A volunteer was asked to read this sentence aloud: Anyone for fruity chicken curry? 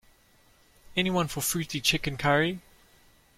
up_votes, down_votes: 2, 0